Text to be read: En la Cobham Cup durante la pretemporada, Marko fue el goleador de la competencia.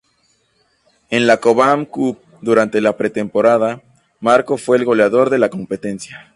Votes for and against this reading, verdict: 2, 0, accepted